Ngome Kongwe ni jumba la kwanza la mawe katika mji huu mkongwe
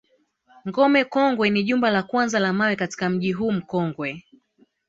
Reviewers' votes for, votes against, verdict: 0, 2, rejected